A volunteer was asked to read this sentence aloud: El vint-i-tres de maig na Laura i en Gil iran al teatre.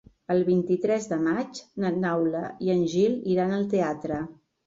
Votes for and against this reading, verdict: 1, 3, rejected